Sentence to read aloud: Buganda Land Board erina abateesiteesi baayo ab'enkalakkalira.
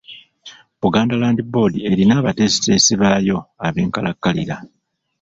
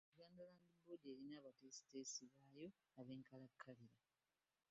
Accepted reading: first